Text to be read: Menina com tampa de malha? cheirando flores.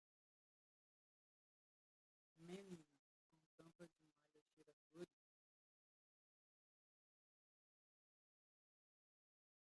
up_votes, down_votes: 0, 2